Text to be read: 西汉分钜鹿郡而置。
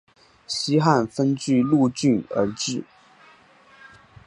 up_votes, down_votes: 3, 0